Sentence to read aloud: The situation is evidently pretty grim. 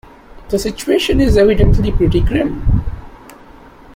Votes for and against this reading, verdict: 2, 0, accepted